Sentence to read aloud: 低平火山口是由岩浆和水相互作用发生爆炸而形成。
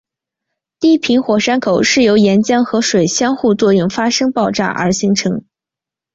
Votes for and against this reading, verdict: 6, 2, accepted